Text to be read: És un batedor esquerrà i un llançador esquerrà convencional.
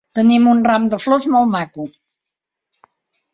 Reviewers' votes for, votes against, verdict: 1, 2, rejected